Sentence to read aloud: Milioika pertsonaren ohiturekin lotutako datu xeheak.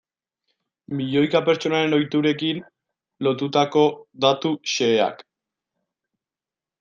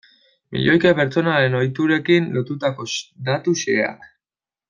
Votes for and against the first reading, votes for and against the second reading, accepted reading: 2, 0, 2, 3, first